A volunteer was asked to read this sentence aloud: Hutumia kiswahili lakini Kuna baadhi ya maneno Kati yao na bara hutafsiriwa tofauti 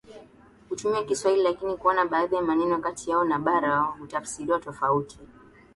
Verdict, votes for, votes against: rejected, 0, 2